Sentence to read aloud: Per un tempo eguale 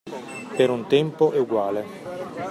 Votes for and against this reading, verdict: 2, 0, accepted